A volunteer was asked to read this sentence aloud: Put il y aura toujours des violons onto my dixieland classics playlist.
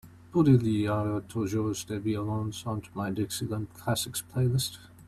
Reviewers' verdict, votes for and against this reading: rejected, 0, 2